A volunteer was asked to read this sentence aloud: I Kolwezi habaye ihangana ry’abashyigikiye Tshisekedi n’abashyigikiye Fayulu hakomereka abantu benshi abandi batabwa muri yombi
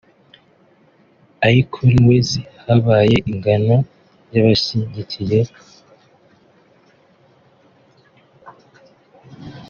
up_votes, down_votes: 1, 3